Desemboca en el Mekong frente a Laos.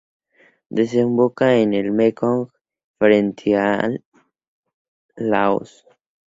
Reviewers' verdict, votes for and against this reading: accepted, 2, 0